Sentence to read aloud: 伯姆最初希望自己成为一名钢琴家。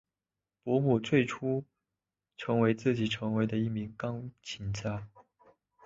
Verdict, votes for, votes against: rejected, 0, 2